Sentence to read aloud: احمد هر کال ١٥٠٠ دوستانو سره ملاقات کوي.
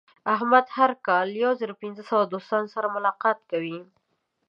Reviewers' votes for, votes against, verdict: 0, 2, rejected